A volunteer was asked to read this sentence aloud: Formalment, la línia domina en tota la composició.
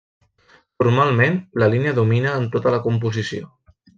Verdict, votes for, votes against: accepted, 2, 0